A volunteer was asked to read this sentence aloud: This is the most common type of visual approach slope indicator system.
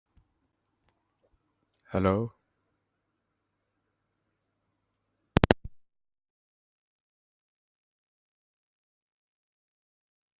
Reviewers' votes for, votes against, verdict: 0, 2, rejected